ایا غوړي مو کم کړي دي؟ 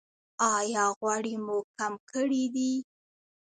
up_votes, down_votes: 2, 0